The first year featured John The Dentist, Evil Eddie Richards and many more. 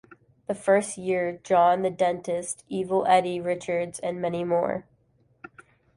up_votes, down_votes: 1, 2